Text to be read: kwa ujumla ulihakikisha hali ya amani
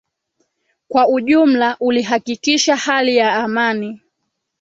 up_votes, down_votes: 2, 0